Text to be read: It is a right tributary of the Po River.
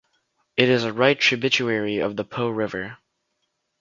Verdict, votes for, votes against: rejected, 0, 2